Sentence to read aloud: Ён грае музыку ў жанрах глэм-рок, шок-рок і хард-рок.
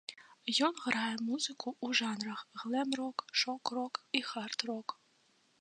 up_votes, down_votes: 2, 0